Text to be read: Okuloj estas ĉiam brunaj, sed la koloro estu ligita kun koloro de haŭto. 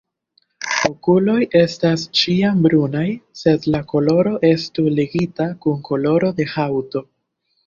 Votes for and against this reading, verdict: 0, 2, rejected